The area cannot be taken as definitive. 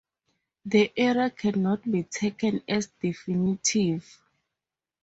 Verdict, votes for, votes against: rejected, 2, 2